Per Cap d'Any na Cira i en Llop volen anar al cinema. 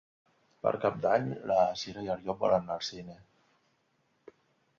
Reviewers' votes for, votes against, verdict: 1, 3, rejected